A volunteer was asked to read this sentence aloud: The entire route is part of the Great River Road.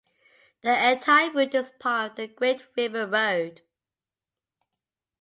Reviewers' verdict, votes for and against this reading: accepted, 2, 1